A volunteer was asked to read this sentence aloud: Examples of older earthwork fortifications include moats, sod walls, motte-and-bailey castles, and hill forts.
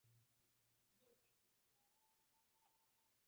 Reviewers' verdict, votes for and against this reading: rejected, 0, 2